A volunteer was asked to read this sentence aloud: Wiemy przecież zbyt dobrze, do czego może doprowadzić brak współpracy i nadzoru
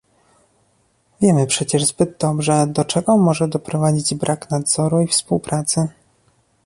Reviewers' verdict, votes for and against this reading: rejected, 0, 2